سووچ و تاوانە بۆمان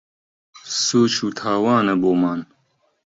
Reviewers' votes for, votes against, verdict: 2, 0, accepted